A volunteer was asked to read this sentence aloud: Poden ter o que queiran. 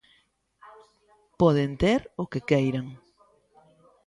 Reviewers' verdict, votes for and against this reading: accepted, 2, 1